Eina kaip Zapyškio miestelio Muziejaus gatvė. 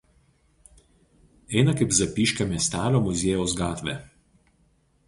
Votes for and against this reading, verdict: 0, 2, rejected